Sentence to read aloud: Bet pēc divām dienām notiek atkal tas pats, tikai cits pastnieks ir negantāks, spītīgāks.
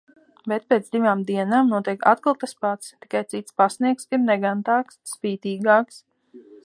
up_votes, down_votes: 1, 2